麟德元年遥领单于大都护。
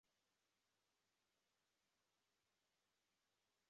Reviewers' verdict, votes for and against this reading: rejected, 0, 5